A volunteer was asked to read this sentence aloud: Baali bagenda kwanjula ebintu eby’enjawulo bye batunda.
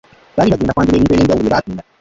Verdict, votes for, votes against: rejected, 0, 2